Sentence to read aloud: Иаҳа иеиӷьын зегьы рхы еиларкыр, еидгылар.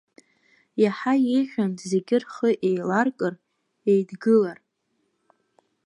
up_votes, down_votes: 2, 0